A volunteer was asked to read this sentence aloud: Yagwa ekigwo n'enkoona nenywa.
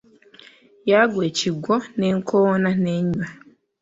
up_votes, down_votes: 1, 2